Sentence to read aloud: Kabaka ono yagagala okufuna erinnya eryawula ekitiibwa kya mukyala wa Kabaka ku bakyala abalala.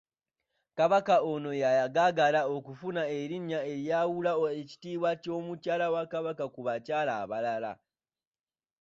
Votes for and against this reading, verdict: 2, 1, accepted